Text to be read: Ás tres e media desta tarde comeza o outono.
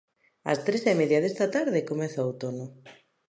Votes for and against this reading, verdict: 2, 0, accepted